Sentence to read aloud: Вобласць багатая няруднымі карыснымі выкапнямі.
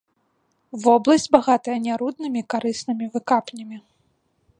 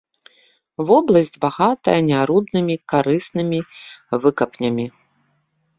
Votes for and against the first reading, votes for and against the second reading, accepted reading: 0, 2, 2, 0, second